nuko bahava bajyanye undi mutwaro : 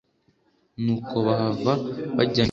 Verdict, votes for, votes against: rejected, 2, 3